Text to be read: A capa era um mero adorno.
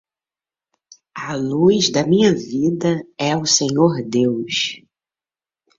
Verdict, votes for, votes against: rejected, 0, 2